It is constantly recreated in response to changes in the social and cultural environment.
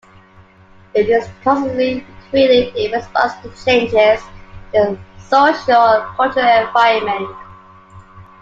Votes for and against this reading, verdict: 0, 2, rejected